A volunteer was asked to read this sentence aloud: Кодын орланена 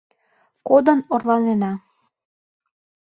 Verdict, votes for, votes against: accepted, 2, 0